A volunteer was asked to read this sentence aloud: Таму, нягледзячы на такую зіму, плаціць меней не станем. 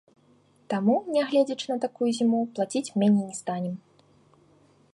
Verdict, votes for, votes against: accepted, 2, 0